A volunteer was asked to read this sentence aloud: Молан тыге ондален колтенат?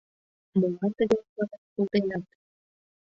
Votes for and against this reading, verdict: 0, 2, rejected